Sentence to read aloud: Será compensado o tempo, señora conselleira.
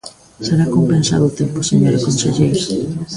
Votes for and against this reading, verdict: 1, 2, rejected